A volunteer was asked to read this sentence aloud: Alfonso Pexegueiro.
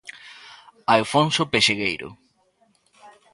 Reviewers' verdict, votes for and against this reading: rejected, 1, 2